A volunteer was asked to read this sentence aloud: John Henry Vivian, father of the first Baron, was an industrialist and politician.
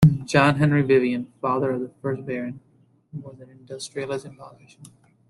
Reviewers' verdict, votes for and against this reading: rejected, 1, 2